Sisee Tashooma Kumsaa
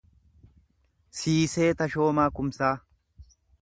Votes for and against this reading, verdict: 1, 2, rejected